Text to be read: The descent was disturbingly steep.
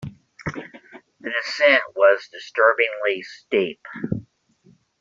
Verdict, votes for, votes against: rejected, 1, 2